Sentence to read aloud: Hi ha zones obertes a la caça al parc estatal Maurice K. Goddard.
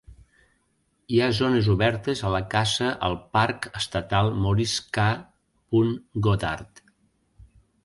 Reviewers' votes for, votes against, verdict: 0, 2, rejected